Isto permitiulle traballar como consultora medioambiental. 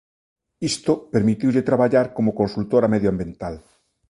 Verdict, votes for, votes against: accepted, 2, 1